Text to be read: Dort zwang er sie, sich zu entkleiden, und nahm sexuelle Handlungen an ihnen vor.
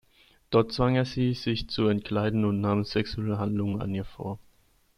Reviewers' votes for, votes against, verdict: 0, 2, rejected